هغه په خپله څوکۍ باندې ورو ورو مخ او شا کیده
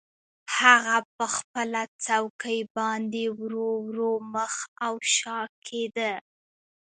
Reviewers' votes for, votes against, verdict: 0, 2, rejected